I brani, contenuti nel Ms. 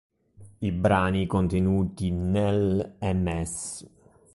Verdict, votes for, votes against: rejected, 0, 2